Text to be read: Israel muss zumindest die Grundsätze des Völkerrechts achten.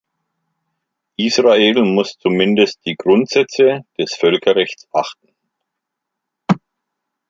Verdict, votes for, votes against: accepted, 2, 0